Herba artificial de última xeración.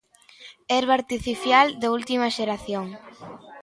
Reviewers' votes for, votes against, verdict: 0, 2, rejected